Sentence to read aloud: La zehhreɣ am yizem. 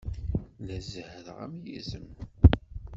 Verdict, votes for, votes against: rejected, 1, 2